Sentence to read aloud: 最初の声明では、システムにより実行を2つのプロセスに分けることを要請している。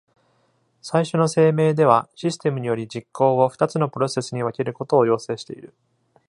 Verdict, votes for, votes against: rejected, 0, 2